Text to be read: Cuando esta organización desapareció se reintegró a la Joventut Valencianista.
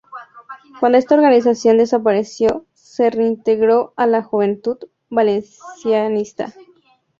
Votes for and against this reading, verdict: 0, 4, rejected